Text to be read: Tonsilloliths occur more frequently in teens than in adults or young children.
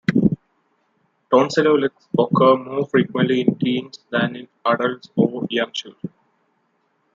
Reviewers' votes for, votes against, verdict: 0, 2, rejected